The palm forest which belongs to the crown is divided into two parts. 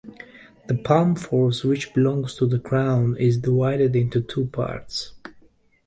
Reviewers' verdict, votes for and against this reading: accepted, 2, 0